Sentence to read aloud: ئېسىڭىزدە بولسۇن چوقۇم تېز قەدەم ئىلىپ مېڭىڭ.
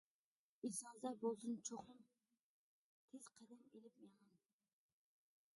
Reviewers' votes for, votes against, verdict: 0, 2, rejected